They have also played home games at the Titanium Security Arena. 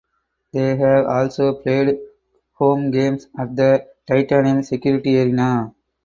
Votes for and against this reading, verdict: 0, 4, rejected